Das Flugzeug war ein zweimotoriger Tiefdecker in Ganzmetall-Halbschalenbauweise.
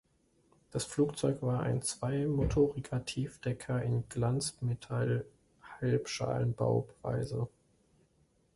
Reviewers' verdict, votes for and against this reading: rejected, 0, 2